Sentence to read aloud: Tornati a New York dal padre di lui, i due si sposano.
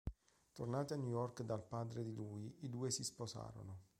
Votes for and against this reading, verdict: 0, 2, rejected